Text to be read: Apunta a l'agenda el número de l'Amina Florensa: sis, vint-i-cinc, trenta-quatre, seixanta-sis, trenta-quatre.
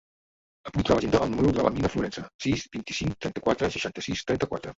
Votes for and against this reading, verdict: 0, 2, rejected